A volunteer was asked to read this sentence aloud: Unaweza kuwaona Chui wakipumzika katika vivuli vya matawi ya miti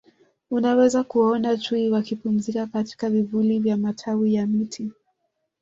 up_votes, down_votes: 1, 2